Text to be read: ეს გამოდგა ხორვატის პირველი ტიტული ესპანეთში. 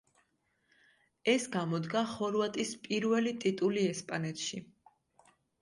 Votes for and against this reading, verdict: 2, 0, accepted